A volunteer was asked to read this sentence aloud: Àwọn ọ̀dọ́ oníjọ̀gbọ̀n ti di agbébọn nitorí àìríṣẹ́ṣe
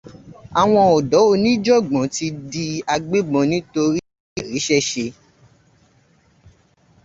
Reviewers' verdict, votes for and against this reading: accepted, 2, 0